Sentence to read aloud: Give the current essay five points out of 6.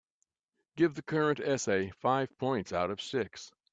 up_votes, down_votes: 0, 2